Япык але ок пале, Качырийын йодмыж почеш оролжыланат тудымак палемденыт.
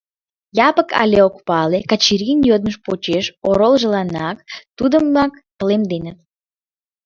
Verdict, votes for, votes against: accepted, 2, 1